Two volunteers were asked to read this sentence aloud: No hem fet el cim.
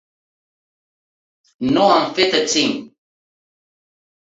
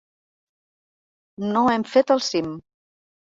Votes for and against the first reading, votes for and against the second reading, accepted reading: 2, 3, 3, 0, second